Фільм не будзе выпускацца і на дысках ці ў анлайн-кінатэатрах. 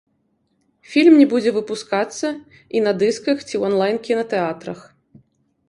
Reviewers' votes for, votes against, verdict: 0, 2, rejected